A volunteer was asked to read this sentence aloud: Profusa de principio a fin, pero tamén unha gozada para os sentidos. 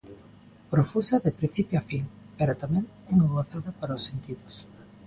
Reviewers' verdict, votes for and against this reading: accepted, 2, 0